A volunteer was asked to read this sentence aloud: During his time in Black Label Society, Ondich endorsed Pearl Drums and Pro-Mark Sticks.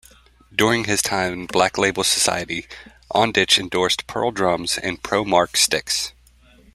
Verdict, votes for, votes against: accepted, 2, 0